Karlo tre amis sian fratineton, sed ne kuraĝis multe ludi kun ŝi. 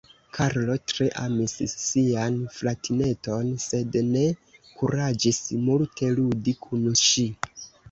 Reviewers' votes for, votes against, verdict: 1, 2, rejected